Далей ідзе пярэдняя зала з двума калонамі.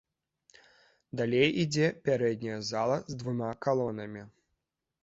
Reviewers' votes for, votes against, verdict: 2, 1, accepted